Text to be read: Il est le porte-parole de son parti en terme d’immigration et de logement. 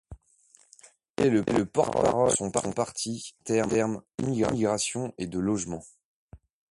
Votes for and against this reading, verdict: 1, 2, rejected